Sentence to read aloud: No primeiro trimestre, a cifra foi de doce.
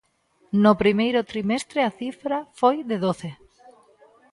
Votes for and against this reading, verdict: 1, 2, rejected